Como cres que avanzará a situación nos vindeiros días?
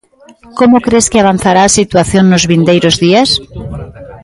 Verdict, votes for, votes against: accepted, 2, 0